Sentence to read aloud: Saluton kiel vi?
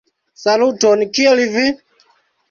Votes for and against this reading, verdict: 2, 0, accepted